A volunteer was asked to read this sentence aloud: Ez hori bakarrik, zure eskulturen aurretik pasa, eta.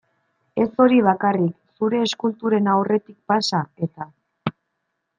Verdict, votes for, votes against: accepted, 2, 1